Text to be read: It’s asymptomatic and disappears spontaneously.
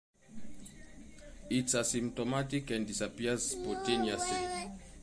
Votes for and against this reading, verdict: 2, 0, accepted